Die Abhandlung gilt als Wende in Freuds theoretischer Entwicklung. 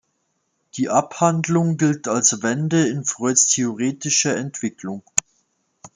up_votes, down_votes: 2, 0